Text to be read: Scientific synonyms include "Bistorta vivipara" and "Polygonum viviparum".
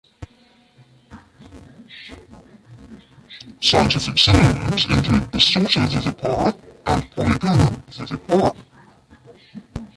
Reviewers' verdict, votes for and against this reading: rejected, 1, 2